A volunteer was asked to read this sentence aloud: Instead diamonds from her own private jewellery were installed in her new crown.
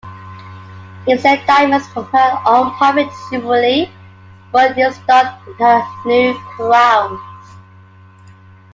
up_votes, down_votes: 1, 2